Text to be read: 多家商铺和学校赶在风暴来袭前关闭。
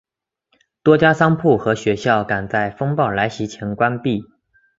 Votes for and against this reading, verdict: 3, 0, accepted